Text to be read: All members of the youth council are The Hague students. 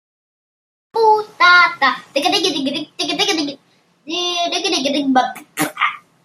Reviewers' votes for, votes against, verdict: 0, 2, rejected